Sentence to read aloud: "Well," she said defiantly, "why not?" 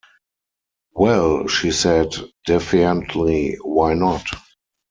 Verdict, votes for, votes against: rejected, 2, 4